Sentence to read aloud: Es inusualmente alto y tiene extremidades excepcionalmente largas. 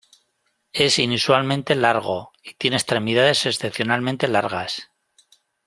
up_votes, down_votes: 0, 2